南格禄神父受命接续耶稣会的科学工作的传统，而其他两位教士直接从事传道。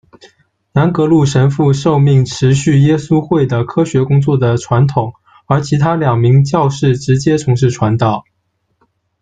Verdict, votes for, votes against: rejected, 0, 2